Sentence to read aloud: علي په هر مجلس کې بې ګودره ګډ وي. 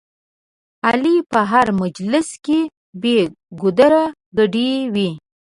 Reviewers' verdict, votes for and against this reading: rejected, 1, 2